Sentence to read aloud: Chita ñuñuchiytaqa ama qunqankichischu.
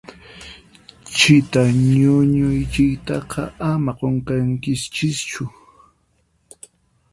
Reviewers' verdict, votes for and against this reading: rejected, 0, 4